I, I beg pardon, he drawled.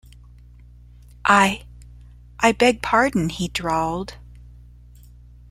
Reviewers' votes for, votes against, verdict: 2, 0, accepted